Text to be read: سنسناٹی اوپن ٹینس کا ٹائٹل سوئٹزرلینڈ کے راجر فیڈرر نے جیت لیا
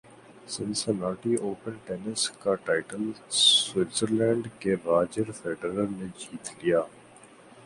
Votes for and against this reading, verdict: 7, 1, accepted